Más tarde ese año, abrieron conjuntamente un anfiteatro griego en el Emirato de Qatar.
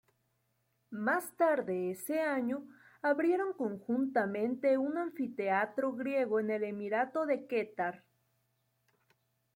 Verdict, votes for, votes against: rejected, 1, 2